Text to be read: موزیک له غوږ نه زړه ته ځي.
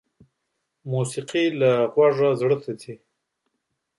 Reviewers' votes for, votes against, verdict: 1, 2, rejected